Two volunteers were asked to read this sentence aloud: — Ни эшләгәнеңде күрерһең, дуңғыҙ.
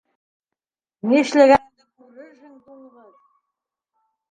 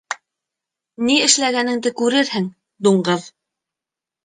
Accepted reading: second